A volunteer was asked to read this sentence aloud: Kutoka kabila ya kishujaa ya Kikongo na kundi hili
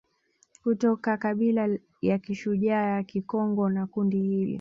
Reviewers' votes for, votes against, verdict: 1, 2, rejected